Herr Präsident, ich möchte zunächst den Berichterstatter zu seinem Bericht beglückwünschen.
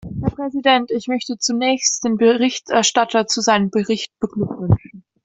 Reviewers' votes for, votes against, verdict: 2, 0, accepted